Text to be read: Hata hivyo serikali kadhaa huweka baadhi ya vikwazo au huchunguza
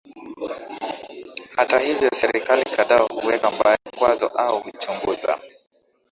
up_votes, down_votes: 13, 1